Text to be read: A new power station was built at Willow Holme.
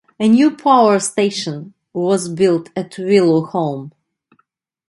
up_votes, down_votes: 2, 0